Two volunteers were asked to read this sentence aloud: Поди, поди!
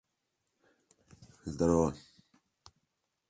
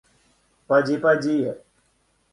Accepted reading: second